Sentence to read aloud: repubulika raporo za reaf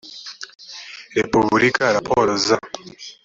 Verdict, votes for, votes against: rejected, 1, 2